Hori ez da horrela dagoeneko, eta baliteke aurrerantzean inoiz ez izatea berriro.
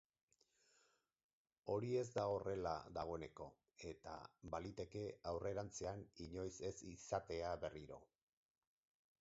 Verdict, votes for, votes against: accepted, 6, 0